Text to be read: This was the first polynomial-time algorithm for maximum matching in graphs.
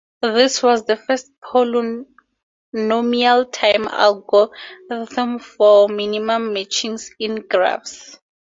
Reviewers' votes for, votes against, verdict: 0, 2, rejected